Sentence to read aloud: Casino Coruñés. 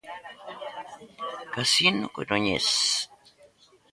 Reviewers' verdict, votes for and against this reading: rejected, 1, 2